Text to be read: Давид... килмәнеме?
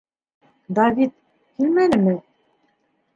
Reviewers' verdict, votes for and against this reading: accepted, 2, 0